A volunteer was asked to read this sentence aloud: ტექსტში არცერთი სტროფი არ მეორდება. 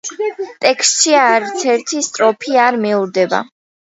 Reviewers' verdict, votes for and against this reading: rejected, 1, 2